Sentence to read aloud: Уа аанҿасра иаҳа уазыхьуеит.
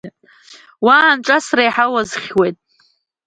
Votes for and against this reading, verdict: 2, 0, accepted